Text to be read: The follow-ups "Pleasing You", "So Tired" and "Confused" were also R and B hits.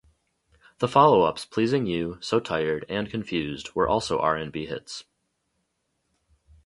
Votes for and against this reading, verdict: 2, 2, rejected